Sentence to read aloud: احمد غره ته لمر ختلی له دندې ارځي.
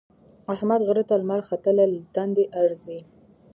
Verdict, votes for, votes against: accepted, 3, 0